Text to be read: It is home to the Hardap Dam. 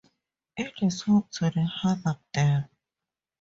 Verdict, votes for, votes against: accepted, 4, 0